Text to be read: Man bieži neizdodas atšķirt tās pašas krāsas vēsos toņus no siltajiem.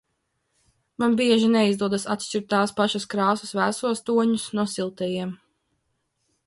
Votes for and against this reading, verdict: 2, 1, accepted